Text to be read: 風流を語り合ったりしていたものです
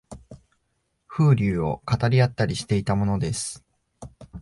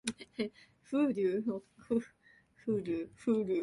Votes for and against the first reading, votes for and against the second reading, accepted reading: 2, 0, 1, 2, first